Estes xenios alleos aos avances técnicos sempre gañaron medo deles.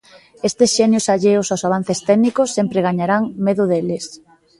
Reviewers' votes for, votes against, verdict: 0, 3, rejected